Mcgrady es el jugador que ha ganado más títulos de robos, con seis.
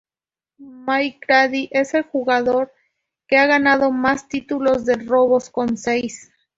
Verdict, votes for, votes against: accepted, 2, 0